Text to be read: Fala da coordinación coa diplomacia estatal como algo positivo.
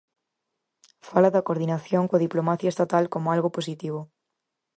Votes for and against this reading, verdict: 4, 0, accepted